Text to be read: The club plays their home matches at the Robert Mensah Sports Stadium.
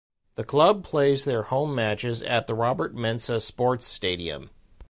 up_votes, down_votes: 2, 0